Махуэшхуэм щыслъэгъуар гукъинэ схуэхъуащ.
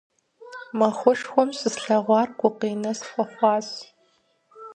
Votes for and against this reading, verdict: 4, 0, accepted